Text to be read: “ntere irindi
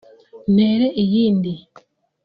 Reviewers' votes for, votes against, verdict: 0, 2, rejected